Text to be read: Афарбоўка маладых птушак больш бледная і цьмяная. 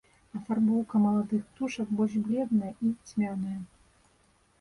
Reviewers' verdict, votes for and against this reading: accepted, 2, 0